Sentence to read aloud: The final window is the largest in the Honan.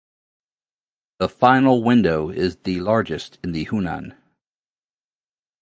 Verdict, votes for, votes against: accepted, 2, 0